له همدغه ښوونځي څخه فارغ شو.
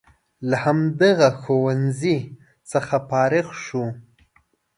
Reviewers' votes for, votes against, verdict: 2, 0, accepted